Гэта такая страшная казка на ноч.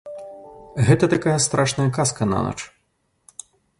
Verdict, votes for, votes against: rejected, 0, 2